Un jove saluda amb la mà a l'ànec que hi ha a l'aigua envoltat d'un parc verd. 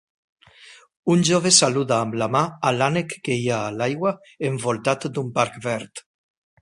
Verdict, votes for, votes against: accepted, 4, 0